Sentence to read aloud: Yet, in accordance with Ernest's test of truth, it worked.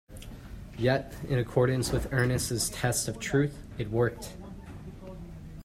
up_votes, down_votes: 2, 1